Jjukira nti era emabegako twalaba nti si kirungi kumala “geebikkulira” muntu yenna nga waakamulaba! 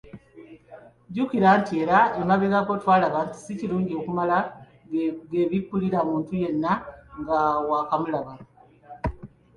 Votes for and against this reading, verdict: 0, 2, rejected